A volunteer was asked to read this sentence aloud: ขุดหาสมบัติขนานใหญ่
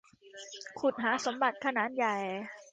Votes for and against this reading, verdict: 2, 1, accepted